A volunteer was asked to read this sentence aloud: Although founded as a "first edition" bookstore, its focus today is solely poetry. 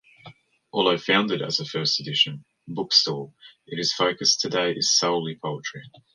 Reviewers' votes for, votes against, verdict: 0, 2, rejected